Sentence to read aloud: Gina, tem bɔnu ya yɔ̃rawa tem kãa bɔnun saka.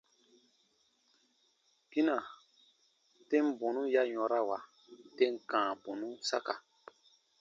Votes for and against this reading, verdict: 2, 0, accepted